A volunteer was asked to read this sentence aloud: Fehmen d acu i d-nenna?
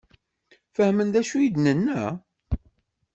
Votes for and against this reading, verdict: 2, 0, accepted